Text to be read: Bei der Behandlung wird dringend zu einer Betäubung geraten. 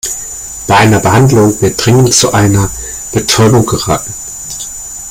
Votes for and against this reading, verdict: 0, 3, rejected